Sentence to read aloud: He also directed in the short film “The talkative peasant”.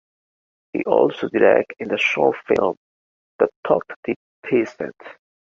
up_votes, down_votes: 2, 1